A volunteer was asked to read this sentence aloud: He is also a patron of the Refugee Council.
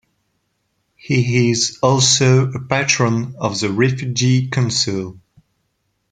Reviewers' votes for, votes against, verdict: 2, 1, accepted